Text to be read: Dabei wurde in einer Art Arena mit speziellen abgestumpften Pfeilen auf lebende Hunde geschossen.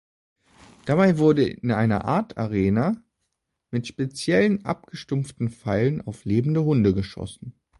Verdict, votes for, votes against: accepted, 2, 0